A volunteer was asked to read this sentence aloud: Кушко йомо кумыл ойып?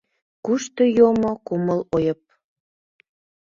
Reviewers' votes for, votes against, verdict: 1, 2, rejected